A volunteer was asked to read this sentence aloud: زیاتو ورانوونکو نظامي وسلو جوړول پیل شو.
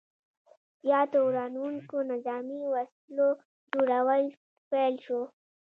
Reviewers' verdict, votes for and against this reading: accepted, 2, 0